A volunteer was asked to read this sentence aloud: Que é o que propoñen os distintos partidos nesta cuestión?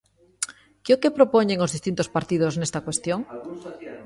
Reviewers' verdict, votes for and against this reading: rejected, 1, 2